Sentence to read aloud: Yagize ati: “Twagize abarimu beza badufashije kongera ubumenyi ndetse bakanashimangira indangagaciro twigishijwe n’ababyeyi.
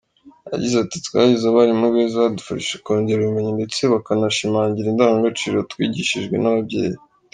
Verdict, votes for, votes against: accepted, 2, 0